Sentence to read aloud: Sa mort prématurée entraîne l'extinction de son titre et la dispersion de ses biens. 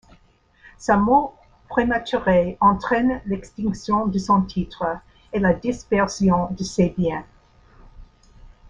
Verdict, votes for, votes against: rejected, 0, 2